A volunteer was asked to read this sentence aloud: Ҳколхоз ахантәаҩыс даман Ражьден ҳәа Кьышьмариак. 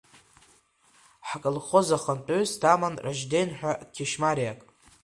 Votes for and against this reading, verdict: 0, 2, rejected